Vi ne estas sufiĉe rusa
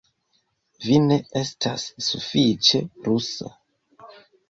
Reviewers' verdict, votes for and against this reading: accepted, 2, 0